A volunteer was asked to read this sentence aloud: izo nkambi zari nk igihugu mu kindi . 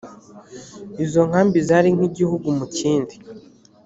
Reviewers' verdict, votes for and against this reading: accepted, 3, 0